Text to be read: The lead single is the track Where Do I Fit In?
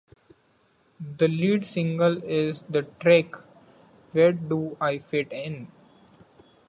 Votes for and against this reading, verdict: 2, 1, accepted